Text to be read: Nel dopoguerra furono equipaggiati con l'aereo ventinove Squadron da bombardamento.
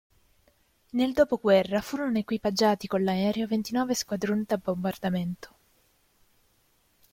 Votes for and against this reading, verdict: 2, 1, accepted